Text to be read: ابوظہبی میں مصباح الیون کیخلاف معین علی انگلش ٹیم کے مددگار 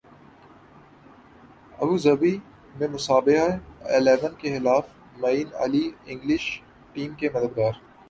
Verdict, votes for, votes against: rejected, 0, 3